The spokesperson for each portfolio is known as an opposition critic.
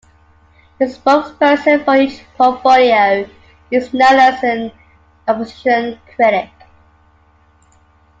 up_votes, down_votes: 3, 2